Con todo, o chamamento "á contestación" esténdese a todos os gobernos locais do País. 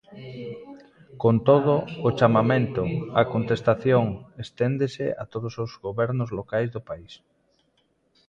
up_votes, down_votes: 2, 0